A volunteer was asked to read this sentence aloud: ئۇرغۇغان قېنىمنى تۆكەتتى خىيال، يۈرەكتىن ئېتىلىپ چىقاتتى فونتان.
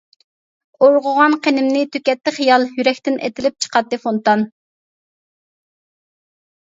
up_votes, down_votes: 2, 0